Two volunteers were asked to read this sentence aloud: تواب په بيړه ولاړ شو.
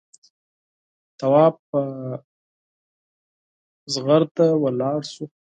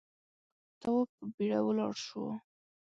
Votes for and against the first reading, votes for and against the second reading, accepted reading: 2, 4, 2, 0, second